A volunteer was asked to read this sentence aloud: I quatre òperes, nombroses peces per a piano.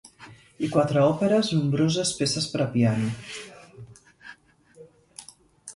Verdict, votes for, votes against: accepted, 2, 0